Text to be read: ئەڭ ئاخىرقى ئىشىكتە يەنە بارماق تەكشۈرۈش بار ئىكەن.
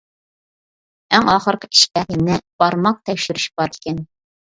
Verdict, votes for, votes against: rejected, 1, 2